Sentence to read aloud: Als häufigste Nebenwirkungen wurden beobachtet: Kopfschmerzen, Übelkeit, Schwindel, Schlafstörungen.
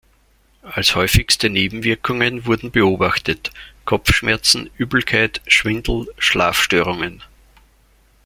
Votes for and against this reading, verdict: 2, 0, accepted